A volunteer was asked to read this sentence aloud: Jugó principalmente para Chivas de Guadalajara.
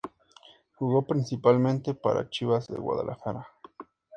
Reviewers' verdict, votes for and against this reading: accepted, 2, 0